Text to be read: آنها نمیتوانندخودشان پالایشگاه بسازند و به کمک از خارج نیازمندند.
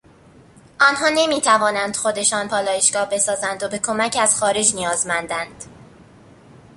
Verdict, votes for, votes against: accepted, 2, 0